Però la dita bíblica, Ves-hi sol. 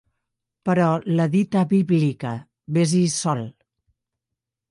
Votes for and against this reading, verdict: 0, 2, rejected